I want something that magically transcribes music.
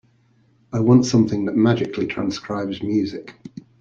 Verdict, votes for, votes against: accepted, 2, 0